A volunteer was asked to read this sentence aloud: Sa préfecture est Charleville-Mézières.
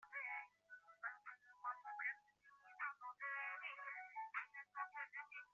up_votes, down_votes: 0, 2